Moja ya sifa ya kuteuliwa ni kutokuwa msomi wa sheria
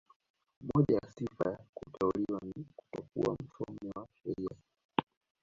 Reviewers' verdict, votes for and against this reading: rejected, 0, 2